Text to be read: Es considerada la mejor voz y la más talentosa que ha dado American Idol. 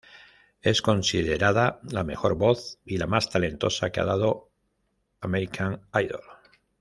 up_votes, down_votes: 2, 0